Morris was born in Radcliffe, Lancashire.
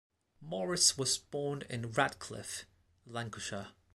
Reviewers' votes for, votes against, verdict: 2, 0, accepted